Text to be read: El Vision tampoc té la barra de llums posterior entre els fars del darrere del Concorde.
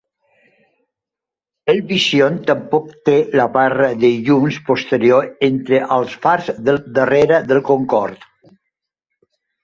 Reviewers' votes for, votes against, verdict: 2, 0, accepted